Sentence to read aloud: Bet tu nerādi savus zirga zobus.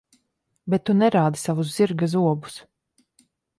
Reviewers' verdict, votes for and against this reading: accepted, 2, 0